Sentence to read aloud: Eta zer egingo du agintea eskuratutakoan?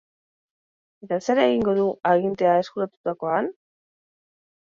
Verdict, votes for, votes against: accepted, 2, 0